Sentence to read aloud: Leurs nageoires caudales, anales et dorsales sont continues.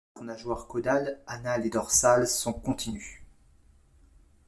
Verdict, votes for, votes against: accepted, 2, 0